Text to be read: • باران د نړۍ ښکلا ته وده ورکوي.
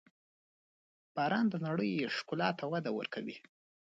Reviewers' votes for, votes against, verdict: 2, 1, accepted